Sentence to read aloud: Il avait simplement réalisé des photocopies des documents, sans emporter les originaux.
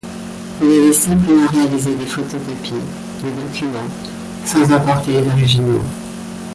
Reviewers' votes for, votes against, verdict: 2, 0, accepted